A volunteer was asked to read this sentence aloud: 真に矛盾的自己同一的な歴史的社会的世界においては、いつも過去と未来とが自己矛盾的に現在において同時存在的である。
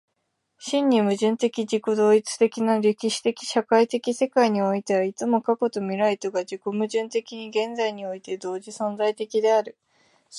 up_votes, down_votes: 2, 1